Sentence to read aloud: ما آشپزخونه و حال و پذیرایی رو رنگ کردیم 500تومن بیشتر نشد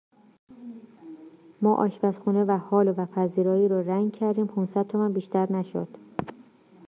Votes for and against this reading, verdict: 0, 2, rejected